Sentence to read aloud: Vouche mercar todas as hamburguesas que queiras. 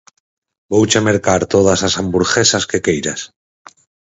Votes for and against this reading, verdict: 2, 6, rejected